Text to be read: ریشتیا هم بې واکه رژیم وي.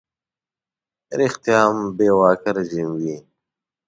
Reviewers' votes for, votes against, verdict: 2, 0, accepted